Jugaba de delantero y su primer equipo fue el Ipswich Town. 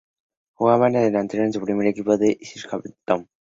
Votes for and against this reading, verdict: 0, 2, rejected